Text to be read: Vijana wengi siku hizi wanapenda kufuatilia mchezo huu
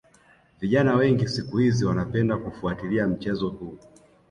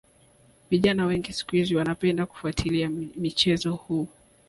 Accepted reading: first